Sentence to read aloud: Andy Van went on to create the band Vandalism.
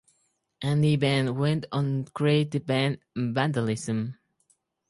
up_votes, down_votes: 0, 4